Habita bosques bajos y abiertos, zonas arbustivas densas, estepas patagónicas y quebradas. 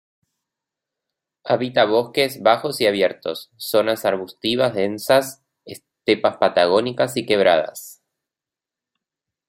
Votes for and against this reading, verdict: 2, 0, accepted